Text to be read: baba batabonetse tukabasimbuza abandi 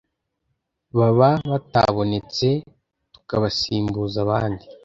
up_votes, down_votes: 2, 0